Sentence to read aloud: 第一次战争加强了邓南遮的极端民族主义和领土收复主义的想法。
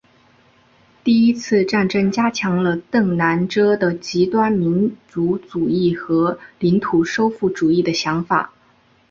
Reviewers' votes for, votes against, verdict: 2, 0, accepted